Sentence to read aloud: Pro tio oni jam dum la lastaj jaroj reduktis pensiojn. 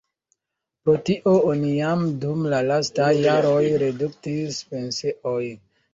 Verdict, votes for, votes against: rejected, 0, 2